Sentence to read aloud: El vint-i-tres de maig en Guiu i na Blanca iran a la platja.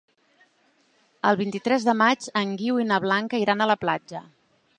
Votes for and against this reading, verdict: 2, 0, accepted